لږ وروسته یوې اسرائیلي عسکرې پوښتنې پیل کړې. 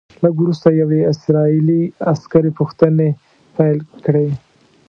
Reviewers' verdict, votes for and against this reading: accepted, 2, 0